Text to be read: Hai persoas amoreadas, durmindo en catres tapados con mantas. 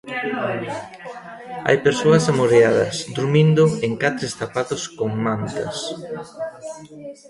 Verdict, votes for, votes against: accepted, 2, 1